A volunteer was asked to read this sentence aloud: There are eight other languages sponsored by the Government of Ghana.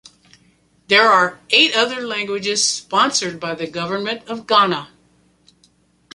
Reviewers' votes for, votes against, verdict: 2, 0, accepted